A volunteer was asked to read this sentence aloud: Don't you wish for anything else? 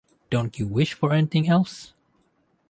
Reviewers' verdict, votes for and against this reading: accepted, 2, 0